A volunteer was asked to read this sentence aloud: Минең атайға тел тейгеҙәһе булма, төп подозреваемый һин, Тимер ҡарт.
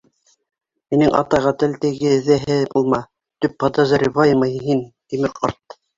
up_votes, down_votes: 1, 2